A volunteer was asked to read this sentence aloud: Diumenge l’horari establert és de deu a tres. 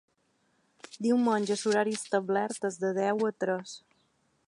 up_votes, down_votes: 1, 2